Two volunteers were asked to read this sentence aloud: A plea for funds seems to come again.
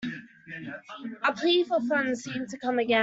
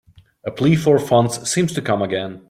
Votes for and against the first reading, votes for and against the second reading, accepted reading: 0, 2, 2, 0, second